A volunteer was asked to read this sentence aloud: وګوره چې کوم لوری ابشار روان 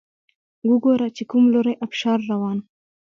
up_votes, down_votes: 2, 0